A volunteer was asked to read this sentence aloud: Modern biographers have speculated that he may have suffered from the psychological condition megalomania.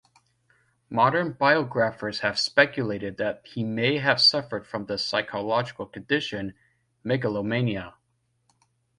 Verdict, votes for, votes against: rejected, 0, 2